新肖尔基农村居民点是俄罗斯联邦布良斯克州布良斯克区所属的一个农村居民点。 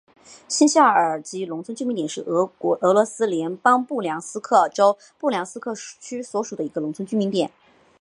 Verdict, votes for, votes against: accepted, 3, 0